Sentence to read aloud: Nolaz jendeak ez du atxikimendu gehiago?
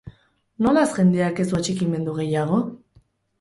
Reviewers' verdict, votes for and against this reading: accepted, 2, 0